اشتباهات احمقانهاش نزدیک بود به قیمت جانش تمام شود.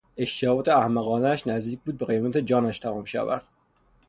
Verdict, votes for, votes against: accepted, 6, 0